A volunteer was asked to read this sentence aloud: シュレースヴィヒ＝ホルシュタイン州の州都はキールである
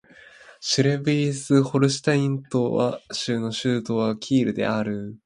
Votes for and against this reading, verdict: 2, 1, accepted